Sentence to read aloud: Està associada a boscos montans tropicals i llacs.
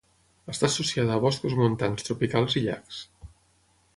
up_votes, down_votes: 6, 0